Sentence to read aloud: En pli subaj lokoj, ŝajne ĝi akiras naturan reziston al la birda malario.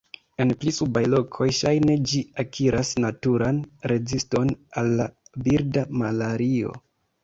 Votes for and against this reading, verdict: 2, 1, accepted